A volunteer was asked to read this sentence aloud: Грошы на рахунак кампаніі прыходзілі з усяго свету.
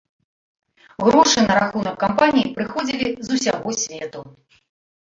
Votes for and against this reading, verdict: 2, 0, accepted